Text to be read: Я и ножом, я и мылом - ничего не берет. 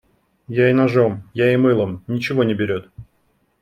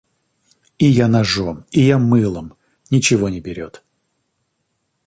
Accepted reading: first